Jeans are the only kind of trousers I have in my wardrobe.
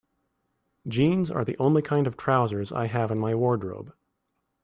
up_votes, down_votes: 2, 0